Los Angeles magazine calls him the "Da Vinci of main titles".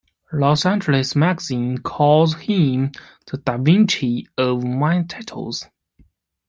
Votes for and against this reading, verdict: 2, 0, accepted